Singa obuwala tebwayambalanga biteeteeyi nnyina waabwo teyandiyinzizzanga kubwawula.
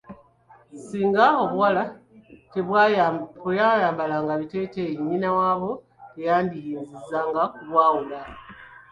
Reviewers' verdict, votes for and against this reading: rejected, 0, 2